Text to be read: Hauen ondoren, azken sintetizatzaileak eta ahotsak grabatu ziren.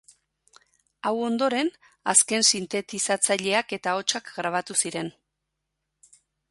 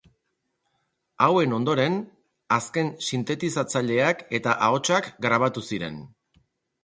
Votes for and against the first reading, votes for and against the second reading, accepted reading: 0, 2, 6, 0, second